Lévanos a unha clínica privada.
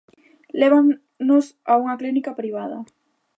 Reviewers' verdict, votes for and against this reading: rejected, 0, 2